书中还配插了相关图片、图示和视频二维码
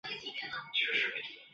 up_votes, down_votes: 0, 6